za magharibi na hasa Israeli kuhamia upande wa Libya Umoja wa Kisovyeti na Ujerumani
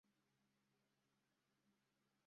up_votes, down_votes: 0, 2